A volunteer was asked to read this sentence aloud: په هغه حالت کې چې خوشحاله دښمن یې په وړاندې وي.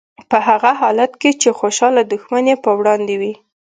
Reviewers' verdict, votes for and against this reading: accepted, 2, 0